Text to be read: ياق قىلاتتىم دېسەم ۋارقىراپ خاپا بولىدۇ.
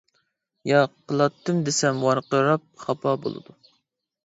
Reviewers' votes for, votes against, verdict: 2, 0, accepted